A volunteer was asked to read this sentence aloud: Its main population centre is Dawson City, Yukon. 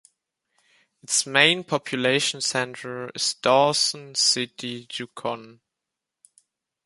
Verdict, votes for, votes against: rejected, 0, 2